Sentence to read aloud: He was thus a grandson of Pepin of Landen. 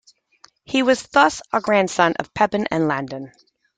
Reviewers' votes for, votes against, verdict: 2, 1, accepted